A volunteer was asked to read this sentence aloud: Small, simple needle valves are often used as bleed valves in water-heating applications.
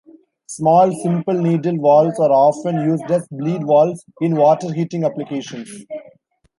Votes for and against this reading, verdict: 2, 0, accepted